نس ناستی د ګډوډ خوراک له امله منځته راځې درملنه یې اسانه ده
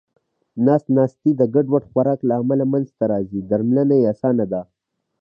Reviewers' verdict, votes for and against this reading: accepted, 2, 0